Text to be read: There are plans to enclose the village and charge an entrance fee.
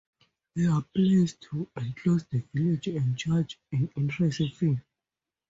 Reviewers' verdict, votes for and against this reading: rejected, 0, 2